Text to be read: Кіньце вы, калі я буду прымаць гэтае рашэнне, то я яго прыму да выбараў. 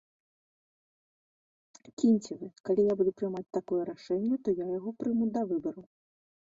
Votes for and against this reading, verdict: 1, 3, rejected